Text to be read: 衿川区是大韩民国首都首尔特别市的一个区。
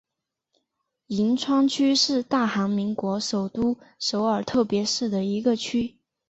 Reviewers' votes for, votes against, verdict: 2, 2, rejected